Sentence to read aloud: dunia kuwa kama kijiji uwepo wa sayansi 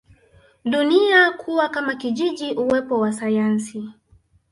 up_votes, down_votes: 1, 2